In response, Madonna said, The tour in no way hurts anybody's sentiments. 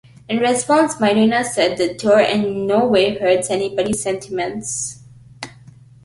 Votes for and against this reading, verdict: 2, 1, accepted